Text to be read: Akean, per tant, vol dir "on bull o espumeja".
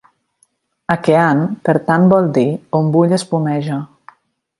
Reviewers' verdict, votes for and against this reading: accepted, 3, 0